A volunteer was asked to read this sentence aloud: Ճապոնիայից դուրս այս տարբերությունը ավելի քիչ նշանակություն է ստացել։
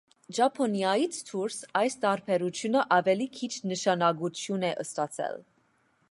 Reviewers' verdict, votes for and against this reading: accepted, 2, 0